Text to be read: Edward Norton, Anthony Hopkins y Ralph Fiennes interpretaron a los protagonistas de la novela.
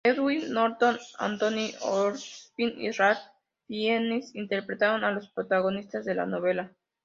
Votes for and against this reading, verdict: 0, 2, rejected